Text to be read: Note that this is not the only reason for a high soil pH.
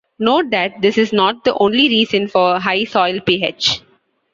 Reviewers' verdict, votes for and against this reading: accepted, 2, 0